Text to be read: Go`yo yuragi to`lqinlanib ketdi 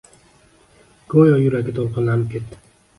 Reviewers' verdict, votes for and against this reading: accepted, 2, 0